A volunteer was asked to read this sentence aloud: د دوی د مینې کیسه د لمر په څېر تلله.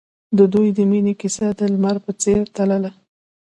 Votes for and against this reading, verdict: 2, 1, accepted